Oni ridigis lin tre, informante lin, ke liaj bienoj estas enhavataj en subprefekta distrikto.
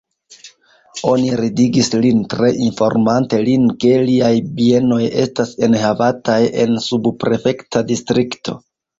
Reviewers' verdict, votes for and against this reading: accepted, 2, 1